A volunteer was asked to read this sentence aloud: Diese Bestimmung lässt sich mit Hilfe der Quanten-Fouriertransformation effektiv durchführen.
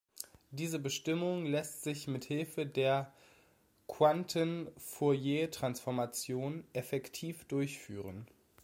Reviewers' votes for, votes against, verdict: 2, 0, accepted